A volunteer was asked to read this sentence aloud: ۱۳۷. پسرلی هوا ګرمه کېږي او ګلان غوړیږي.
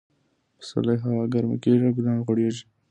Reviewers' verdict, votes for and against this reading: rejected, 0, 2